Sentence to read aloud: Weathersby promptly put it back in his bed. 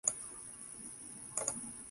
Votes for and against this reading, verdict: 0, 2, rejected